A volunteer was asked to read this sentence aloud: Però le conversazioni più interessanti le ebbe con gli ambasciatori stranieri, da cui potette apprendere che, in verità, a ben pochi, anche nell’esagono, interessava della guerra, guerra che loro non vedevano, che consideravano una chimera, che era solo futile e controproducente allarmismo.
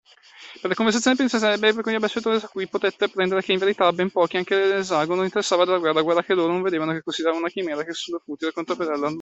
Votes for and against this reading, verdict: 0, 2, rejected